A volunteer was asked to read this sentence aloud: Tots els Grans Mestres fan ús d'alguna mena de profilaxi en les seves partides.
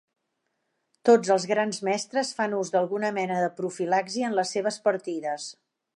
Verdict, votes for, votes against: accepted, 3, 1